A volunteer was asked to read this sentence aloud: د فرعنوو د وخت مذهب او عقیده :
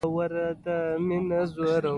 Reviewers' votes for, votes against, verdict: 2, 1, accepted